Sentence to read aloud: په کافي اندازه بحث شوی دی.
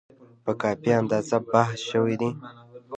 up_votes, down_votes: 0, 2